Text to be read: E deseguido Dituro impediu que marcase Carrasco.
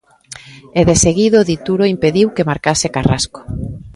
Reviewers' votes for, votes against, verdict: 2, 0, accepted